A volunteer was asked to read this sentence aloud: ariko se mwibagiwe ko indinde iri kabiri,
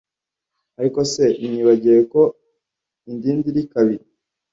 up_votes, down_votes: 1, 2